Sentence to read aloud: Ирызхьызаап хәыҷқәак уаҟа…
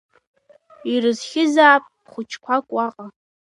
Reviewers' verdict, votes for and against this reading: rejected, 1, 2